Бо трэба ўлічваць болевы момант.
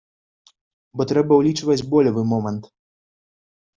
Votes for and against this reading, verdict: 2, 0, accepted